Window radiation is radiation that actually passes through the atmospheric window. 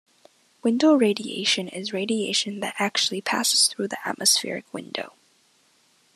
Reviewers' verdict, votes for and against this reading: accepted, 2, 0